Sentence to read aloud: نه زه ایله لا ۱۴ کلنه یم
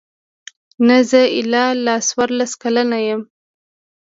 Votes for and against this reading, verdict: 0, 2, rejected